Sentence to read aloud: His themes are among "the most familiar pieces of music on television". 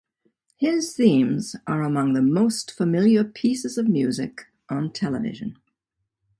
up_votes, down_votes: 2, 0